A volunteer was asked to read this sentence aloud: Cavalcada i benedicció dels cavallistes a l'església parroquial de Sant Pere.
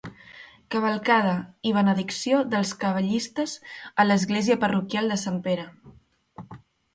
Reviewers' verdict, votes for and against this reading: accepted, 2, 0